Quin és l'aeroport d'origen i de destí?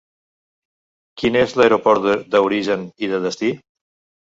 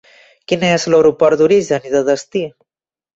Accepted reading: second